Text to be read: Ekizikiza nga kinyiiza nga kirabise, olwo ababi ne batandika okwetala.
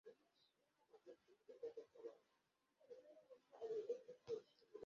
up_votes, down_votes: 0, 2